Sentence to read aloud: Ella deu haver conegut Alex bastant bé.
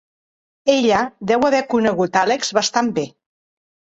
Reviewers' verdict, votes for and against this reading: accepted, 2, 0